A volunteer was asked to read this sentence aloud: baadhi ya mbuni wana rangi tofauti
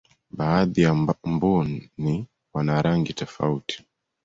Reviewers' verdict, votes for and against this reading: accepted, 2, 0